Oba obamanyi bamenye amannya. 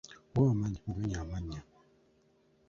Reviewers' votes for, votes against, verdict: 0, 3, rejected